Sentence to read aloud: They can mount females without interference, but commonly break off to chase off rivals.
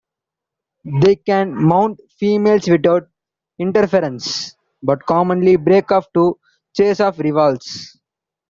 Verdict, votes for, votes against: rejected, 0, 2